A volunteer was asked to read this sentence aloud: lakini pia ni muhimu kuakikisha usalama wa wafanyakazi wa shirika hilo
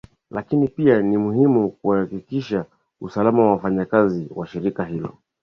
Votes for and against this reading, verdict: 2, 0, accepted